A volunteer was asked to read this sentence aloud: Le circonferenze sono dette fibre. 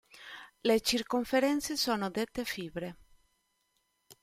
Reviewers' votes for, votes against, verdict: 2, 0, accepted